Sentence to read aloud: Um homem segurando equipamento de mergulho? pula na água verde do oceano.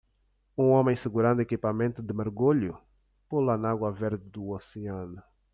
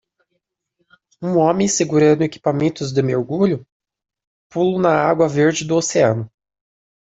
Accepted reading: first